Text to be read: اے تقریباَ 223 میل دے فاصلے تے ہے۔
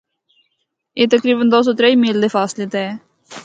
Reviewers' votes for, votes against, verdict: 0, 2, rejected